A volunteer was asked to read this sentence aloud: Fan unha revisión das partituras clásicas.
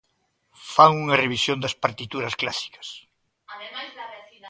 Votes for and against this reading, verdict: 1, 2, rejected